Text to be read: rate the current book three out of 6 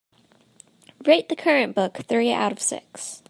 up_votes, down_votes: 0, 2